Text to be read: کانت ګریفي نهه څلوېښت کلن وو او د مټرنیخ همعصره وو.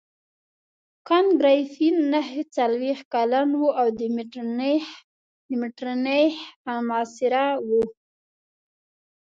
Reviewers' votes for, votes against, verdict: 0, 2, rejected